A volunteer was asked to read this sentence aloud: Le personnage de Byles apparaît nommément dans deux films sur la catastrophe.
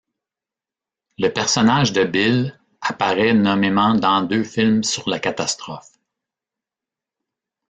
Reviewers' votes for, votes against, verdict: 2, 0, accepted